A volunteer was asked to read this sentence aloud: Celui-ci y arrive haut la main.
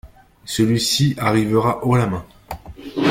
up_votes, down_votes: 0, 2